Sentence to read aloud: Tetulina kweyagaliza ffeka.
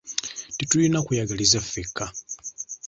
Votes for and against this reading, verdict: 2, 0, accepted